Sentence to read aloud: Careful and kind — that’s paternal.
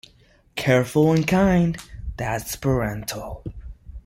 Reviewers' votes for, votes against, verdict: 0, 2, rejected